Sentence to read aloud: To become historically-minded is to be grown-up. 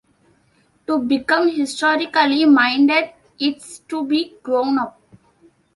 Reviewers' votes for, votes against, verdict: 2, 1, accepted